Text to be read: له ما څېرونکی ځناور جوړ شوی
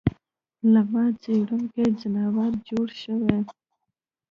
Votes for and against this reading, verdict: 1, 2, rejected